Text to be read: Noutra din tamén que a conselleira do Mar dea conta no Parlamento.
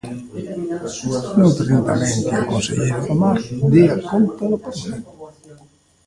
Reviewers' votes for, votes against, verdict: 0, 2, rejected